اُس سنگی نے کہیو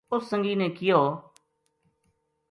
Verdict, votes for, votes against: accepted, 2, 0